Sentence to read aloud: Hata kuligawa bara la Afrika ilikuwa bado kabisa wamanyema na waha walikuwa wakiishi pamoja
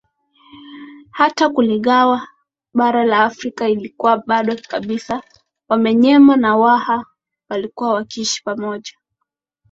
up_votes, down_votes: 2, 1